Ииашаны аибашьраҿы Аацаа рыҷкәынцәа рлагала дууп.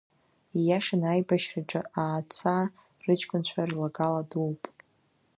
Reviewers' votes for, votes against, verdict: 2, 0, accepted